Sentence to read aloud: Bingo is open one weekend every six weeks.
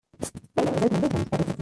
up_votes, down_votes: 0, 2